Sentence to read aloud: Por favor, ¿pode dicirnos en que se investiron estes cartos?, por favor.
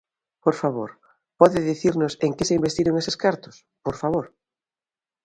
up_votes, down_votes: 0, 2